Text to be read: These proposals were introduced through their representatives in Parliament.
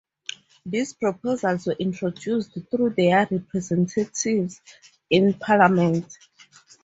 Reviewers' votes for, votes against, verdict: 4, 0, accepted